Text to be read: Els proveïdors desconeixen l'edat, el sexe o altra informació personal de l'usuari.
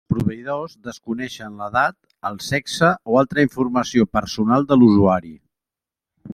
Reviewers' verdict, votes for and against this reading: rejected, 1, 2